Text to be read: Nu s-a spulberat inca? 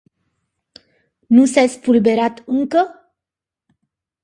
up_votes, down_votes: 0, 2